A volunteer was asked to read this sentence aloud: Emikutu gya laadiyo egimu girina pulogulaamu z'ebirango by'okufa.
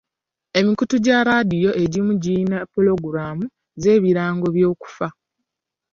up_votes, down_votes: 2, 0